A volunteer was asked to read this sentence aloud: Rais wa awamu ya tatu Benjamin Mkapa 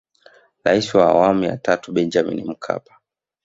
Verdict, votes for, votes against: rejected, 1, 2